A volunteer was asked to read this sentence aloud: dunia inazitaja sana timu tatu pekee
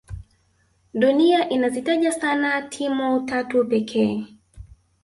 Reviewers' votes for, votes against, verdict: 3, 1, accepted